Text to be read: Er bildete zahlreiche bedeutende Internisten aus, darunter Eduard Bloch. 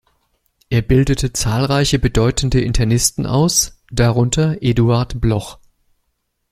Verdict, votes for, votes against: accepted, 2, 0